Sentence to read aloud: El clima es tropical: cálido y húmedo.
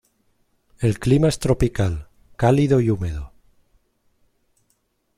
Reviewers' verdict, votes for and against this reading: accepted, 2, 0